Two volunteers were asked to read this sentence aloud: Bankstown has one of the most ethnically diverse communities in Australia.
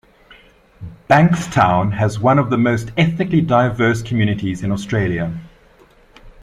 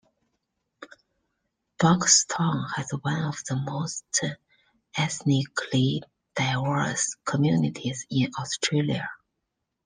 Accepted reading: first